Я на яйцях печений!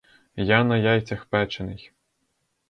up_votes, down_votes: 2, 2